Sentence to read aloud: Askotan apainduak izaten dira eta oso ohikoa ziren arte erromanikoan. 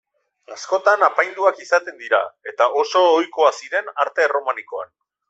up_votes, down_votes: 2, 0